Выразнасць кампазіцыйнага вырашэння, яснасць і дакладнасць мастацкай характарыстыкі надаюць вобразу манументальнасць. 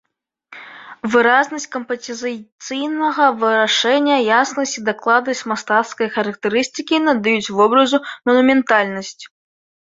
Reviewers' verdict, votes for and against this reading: rejected, 1, 2